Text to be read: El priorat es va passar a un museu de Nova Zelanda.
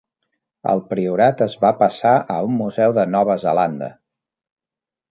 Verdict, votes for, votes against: accepted, 3, 0